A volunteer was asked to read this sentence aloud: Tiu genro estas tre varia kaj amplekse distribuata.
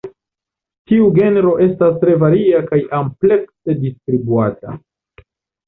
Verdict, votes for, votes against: rejected, 1, 2